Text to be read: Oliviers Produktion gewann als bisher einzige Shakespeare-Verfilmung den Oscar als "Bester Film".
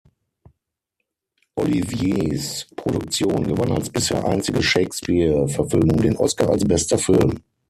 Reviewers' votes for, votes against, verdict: 0, 6, rejected